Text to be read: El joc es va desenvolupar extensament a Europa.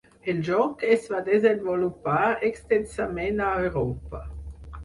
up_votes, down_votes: 4, 0